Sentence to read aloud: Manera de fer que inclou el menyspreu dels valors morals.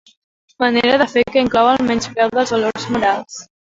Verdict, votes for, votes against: rejected, 1, 2